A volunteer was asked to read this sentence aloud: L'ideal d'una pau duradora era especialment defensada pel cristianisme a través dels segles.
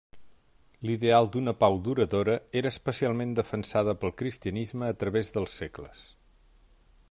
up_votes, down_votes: 3, 0